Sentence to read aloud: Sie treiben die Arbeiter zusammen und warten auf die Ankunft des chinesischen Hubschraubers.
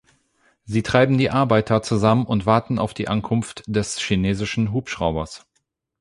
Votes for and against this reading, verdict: 8, 0, accepted